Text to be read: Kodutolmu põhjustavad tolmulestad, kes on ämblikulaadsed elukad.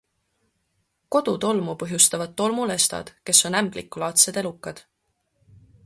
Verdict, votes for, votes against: accepted, 2, 0